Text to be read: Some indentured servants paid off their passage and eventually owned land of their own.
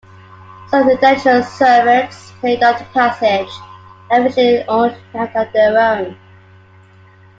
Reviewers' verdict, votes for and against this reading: rejected, 0, 2